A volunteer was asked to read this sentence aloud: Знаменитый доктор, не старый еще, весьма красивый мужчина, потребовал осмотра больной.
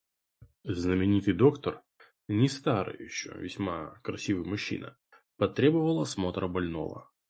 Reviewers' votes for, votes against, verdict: 2, 2, rejected